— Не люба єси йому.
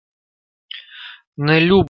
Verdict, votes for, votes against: rejected, 0, 2